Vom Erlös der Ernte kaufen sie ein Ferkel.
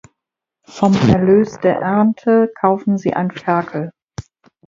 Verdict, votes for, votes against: accepted, 4, 0